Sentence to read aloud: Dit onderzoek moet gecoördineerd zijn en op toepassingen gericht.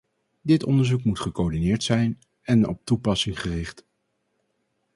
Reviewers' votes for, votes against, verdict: 0, 2, rejected